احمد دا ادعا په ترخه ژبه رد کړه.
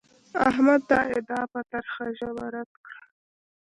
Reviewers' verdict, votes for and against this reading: rejected, 1, 2